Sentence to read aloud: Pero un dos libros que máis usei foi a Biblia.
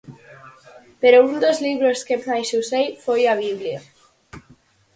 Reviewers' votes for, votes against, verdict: 4, 0, accepted